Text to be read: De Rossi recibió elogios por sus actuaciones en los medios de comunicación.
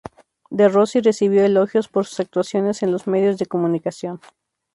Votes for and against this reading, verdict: 4, 0, accepted